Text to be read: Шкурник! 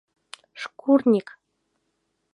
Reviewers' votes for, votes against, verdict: 2, 0, accepted